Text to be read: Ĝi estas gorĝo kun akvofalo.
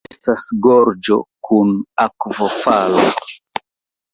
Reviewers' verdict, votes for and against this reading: rejected, 0, 2